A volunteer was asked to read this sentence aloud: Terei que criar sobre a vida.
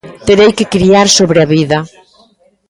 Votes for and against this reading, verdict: 2, 0, accepted